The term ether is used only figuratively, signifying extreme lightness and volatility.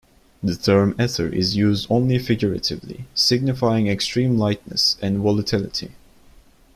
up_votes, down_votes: 1, 2